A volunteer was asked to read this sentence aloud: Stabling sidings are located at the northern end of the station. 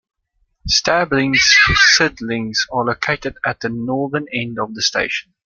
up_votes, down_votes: 1, 2